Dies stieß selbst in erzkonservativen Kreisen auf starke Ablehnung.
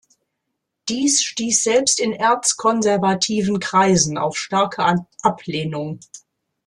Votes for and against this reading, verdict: 0, 2, rejected